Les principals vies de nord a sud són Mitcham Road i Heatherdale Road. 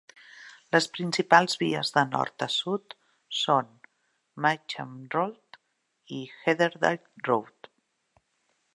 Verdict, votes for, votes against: rejected, 1, 2